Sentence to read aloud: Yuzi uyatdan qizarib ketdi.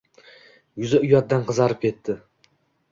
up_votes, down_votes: 2, 0